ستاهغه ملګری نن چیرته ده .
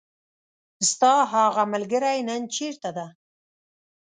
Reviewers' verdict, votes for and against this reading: accepted, 2, 0